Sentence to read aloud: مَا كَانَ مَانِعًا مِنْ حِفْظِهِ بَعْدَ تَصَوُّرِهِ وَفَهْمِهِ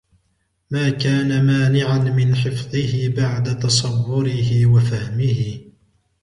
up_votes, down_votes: 2, 0